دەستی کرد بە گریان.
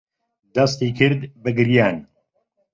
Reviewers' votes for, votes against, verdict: 2, 1, accepted